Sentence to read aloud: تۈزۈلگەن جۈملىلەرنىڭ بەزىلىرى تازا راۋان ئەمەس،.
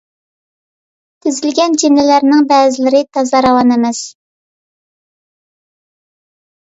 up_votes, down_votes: 2, 0